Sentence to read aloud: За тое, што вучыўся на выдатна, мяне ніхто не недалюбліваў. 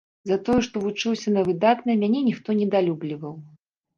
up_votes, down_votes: 0, 2